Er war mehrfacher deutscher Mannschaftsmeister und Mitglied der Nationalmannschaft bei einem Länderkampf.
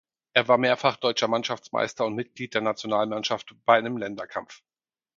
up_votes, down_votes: 2, 4